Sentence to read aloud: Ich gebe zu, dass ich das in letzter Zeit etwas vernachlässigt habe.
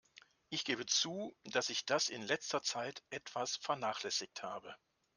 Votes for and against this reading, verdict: 2, 0, accepted